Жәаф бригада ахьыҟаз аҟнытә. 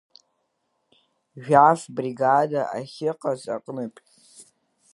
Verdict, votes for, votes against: accepted, 2, 0